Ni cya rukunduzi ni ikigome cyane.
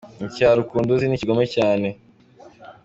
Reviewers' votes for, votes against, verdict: 1, 2, rejected